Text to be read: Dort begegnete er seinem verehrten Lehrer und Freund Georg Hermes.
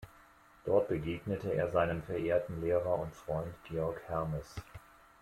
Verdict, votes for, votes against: accepted, 2, 0